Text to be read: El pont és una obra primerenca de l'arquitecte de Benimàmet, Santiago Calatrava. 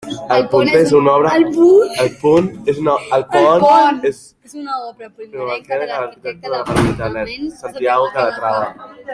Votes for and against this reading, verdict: 0, 2, rejected